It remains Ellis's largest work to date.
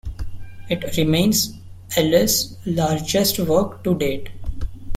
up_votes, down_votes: 1, 2